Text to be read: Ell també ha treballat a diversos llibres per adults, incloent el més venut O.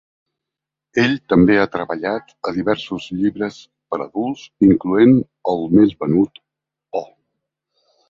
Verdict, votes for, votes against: accepted, 2, 0